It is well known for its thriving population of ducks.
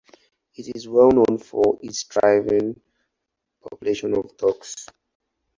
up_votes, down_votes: 4, 0